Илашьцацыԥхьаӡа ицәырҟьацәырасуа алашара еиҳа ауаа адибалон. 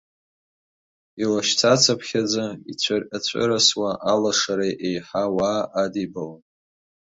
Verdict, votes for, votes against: accepted, 2, 0